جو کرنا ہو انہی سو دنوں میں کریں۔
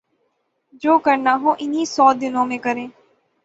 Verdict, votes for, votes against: accepted, 6, 0